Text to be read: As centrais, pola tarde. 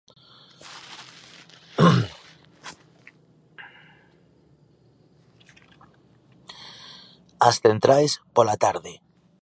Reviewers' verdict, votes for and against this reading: accepted, 2, 1